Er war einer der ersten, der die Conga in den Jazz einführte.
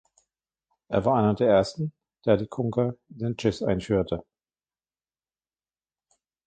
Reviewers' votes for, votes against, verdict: 2, 0, accepted